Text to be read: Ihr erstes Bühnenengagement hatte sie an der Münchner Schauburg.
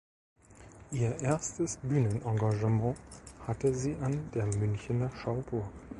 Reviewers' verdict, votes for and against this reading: rejected, 1, 2